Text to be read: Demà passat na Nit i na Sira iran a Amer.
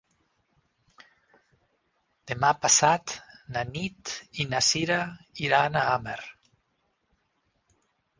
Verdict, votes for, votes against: rejected, 2, 4